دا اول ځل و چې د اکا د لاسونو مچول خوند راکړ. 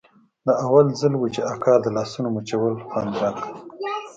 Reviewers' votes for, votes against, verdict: 2, 0, accepted